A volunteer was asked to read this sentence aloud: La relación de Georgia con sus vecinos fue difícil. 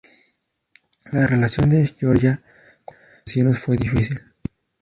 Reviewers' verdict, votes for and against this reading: rejected, 0, 2